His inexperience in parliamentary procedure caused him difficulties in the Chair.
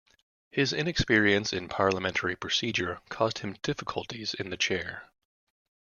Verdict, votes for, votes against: accepted, 2, 0